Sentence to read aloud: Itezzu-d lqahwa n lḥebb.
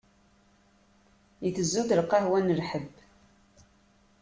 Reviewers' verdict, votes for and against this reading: accepted, 2, 0